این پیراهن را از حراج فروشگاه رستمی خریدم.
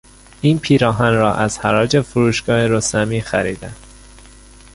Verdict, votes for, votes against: rejected, 0, 2